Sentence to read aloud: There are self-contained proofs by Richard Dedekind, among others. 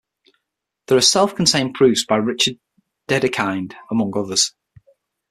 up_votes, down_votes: 6, 0